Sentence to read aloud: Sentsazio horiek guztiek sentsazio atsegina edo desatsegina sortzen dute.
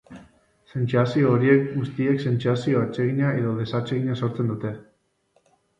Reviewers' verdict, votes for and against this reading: rejected, 1, 2